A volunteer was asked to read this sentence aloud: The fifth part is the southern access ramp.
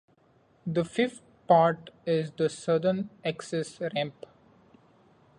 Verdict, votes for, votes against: accepted, 2, 0